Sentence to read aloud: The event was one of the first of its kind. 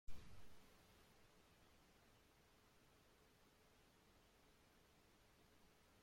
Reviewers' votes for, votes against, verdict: 0, 2, rejected